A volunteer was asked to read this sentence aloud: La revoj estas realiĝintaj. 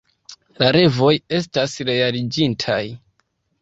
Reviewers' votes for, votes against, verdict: 2, 0, accepted